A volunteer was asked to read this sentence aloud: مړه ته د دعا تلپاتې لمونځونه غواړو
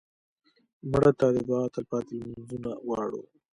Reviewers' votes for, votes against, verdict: 2, 0, accepted